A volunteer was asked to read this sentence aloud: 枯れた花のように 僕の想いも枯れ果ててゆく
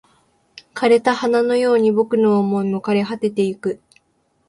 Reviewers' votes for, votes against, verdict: 2, 0, accepted